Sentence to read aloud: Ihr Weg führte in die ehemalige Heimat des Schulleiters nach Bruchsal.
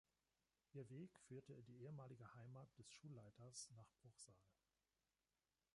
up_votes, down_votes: 1, 2